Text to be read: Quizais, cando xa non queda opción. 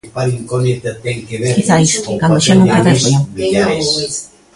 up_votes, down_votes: 0, 2